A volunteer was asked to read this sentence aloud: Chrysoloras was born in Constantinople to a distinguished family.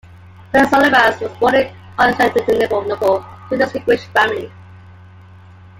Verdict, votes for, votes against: rejected, 1, 2